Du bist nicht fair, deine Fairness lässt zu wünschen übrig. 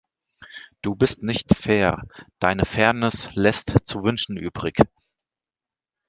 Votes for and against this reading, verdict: 2, 0, accepted